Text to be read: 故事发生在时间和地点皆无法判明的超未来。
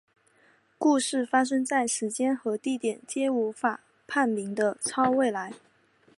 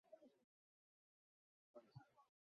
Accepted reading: first